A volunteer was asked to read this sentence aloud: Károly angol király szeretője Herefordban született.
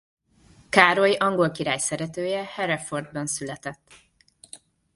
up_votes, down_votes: 1, 2